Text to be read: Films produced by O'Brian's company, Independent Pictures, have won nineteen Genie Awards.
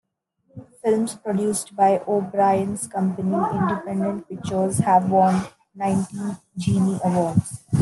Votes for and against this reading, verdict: 0, 2, rejected